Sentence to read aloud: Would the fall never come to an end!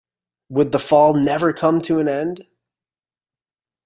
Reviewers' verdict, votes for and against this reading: accepted, 2, 0